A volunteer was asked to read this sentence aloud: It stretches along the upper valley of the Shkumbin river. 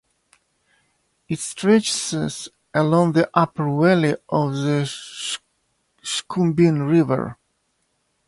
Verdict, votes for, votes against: rejected, 2, 3